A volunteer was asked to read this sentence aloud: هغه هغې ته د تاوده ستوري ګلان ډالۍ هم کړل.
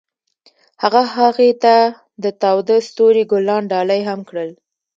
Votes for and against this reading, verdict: 2, 0, accepted